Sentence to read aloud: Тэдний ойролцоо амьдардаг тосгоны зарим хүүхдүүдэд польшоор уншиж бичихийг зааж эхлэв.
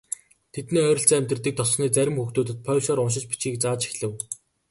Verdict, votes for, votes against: accepted, 3, 1